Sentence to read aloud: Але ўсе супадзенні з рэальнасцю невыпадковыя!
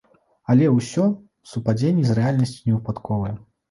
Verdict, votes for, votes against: rejected, 0, 2